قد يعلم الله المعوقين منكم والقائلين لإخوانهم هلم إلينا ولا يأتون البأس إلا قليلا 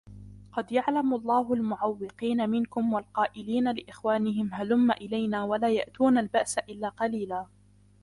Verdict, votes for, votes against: accepted, 2, 1